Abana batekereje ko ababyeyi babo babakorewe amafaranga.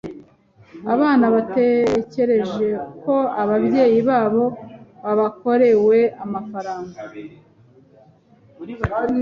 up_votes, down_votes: 2, 1